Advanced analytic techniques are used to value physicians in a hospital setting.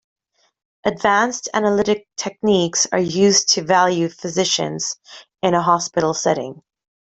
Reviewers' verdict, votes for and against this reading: accepted, 2, 0